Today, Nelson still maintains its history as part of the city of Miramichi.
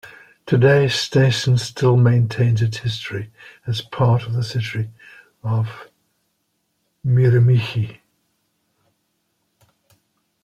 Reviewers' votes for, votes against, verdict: 2, 1, accepted